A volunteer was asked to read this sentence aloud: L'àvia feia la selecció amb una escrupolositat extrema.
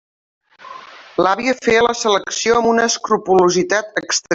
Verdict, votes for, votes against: rejected, 0, 2